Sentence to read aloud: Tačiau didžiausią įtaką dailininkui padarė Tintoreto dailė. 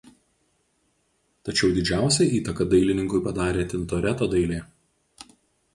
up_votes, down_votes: 4, 0